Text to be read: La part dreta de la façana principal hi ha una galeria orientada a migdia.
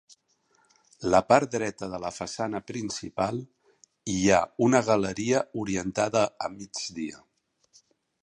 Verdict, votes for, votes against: accepted, 3, 0